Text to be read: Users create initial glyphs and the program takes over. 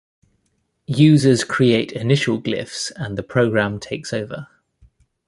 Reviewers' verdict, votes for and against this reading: accepted, 2, 0